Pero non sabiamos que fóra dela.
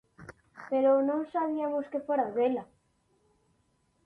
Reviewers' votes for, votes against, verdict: 0, 2, rejected